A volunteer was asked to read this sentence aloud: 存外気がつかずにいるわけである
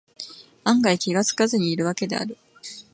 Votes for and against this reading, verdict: 0, 4, rejected